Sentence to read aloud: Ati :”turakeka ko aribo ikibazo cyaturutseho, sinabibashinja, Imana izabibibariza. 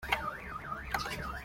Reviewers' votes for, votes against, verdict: 0, 2, rejected